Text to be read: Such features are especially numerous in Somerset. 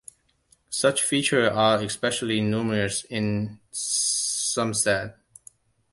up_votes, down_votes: 0, 2